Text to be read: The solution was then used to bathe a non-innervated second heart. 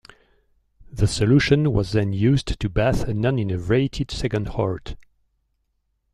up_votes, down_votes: 1, 2